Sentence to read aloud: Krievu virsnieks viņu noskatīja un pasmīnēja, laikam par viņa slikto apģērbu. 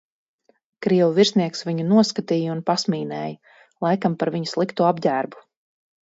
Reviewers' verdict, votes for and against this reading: accepted, 4, 0